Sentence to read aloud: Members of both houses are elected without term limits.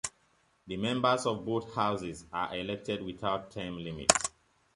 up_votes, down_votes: 1, 2